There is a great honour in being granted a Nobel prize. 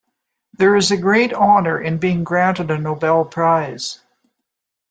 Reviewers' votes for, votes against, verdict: 2, 0, accepted